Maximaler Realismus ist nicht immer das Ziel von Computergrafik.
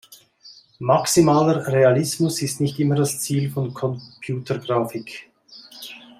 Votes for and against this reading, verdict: 2, 0, accepted